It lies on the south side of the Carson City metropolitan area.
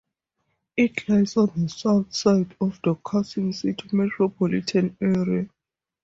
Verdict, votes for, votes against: accepted, 4, 0